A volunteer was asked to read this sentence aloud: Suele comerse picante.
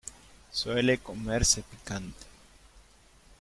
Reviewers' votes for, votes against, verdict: 0, 2, rejected